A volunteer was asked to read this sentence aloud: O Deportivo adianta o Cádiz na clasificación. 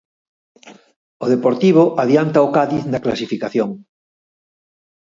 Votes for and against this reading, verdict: 4, 0, accepted